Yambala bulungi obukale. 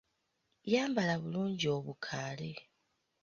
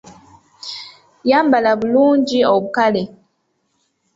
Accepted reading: second